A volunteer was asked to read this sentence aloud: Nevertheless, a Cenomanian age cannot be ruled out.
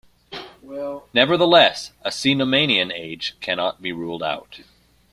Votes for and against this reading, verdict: 1, 2, rejected